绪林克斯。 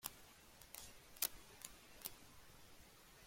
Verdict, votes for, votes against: rejected, 0, 2